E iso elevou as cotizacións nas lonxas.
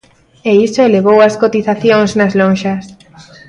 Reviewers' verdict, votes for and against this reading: accepted, 2, 0